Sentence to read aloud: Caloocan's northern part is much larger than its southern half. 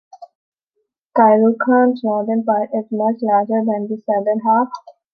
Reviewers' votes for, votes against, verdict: 2, 1, accepted